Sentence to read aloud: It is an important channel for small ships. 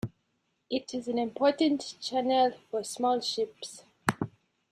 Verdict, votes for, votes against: accepted, 2, 0